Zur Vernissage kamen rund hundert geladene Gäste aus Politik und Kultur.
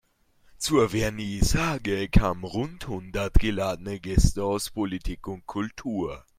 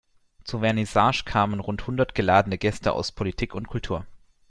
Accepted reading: second